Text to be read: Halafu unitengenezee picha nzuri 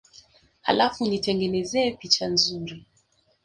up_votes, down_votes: 2, 0